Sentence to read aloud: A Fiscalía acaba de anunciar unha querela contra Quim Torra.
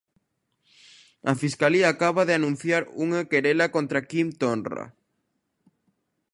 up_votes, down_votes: 0, 2